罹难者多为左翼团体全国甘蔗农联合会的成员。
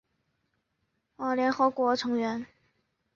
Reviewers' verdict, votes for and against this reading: rejected, 1, 2